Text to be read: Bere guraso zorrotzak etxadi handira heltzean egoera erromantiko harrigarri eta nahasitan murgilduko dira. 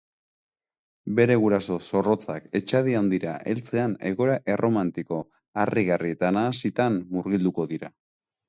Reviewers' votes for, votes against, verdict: 2, 0, accepted